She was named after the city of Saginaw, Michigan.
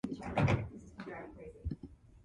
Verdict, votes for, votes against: rejected, 0, 2